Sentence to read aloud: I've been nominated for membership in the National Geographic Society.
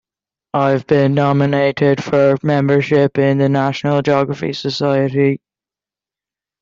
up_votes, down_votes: 1, 2